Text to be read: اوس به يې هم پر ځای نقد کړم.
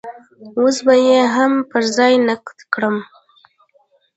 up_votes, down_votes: 1, 2